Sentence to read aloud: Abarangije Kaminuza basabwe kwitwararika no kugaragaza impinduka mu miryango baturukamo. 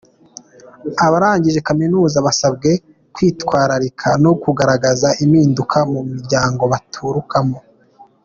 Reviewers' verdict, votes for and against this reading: accepted, 3, 0